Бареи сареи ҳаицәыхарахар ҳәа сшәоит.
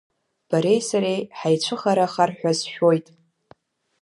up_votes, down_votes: 2, 1